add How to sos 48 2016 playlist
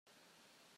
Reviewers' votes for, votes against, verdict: 0, 2, rejected